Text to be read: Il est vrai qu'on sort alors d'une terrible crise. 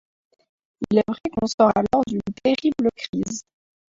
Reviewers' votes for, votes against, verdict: 0, 2, rejected